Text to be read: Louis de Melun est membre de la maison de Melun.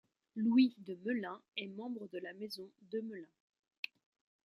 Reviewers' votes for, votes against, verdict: 0, 2, rejected